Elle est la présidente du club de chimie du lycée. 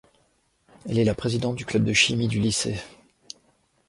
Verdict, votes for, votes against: accepted, 2, 0